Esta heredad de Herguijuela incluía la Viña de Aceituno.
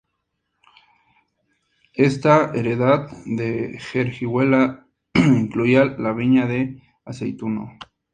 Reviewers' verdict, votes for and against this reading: rejected, 0, 2